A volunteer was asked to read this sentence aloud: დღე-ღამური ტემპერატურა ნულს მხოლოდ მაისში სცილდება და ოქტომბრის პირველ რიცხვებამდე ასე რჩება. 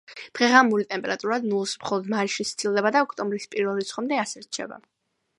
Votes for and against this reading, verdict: 2, 0, accepted